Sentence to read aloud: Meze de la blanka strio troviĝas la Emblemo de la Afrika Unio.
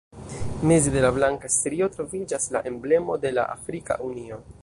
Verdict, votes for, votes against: rejected, 0, 2